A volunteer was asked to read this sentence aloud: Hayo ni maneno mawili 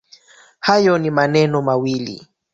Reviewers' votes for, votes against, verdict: 0, 2, rejected